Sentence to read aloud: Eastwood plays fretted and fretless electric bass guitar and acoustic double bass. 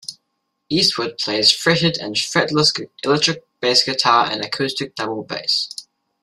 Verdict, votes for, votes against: rejected, 1, 2